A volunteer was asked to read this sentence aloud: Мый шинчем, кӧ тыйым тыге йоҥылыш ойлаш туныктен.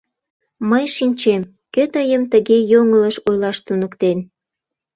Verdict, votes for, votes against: accepted, 2, 0